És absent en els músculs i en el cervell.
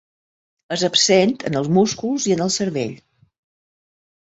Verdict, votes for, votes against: accepted, 2, 0